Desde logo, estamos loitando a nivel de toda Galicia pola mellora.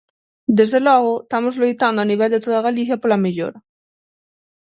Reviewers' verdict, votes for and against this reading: rejected, 0, 6